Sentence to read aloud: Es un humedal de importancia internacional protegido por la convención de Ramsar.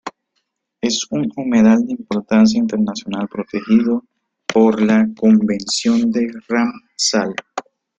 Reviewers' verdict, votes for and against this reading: rejected, 0, 2